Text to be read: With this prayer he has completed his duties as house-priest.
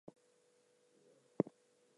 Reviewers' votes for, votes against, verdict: 0, 2, rejected